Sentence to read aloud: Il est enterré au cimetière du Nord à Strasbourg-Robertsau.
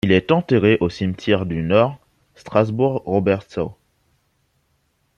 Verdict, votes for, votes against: rejected, 0, 2